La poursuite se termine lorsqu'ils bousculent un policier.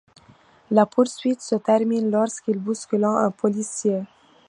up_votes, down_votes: 0, 2